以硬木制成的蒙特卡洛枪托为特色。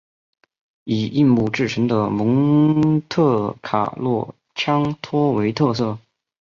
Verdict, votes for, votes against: rejected, 1, 2